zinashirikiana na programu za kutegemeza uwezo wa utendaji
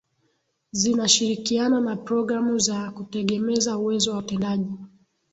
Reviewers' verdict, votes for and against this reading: accepted, 2, 0